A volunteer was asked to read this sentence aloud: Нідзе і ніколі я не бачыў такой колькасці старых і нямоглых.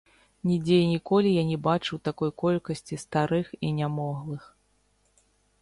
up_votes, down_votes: 1, 2